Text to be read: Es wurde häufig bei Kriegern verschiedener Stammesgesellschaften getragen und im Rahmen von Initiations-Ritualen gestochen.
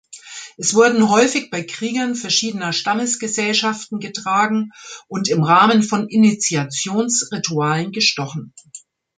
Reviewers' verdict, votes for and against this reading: rejected, 0, 2